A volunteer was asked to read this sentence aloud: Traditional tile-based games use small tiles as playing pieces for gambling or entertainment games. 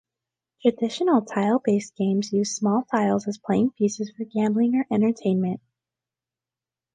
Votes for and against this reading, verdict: 0, 2, rejected